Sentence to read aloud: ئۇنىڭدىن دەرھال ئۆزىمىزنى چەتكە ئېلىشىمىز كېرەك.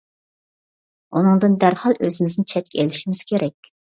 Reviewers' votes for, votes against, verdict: 2, 0, accepted